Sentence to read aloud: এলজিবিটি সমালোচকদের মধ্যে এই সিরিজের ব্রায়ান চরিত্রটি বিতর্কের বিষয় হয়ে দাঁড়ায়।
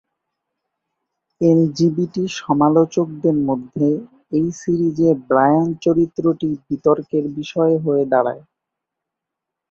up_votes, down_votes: 2, 0